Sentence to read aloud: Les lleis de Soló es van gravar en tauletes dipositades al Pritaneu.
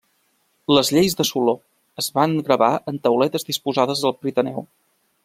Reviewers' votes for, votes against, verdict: 0, 2, rejected